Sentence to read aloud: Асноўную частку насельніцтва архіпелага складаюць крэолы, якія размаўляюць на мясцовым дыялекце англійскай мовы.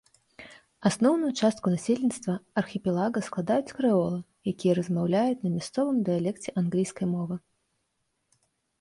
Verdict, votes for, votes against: rejected, 1, 2